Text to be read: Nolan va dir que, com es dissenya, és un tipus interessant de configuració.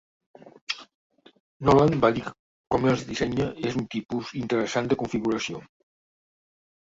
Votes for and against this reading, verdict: 0, 2, rejected